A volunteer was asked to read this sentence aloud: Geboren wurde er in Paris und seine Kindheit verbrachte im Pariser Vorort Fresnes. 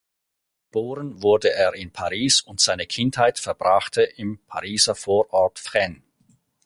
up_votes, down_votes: 2, 4